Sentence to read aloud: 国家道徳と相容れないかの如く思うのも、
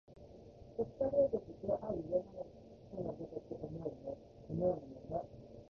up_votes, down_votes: 1, 2